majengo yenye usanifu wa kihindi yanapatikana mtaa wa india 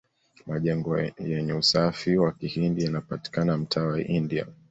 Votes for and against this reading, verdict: 0, 2, rejected